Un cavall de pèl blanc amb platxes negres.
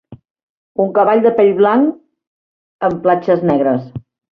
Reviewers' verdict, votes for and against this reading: rejected, 0, 2